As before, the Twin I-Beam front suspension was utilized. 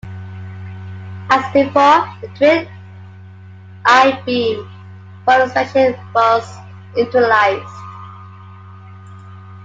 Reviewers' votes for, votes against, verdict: 0, 2, rejected